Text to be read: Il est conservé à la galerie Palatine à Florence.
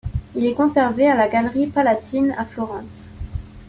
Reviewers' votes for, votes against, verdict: 2, 0, accepted